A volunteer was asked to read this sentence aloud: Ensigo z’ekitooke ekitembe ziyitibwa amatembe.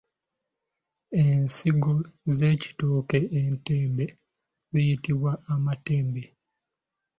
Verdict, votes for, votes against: rejected, 1, 2